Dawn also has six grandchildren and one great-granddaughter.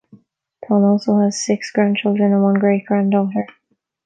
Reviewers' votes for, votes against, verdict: 2, 0, accepted